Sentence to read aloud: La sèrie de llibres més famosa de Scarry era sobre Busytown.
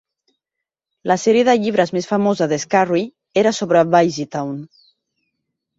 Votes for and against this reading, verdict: 2, 0, accepted